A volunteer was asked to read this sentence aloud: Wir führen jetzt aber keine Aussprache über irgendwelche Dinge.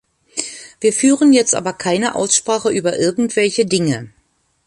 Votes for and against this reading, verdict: 2, 0, accepted